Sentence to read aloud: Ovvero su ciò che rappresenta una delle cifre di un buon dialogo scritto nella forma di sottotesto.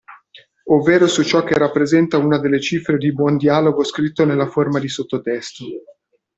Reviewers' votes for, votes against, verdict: 0, 2, rejected